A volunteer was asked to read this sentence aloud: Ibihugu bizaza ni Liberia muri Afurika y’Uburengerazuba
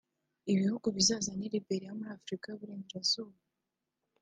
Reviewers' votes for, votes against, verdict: 2, 1, accepted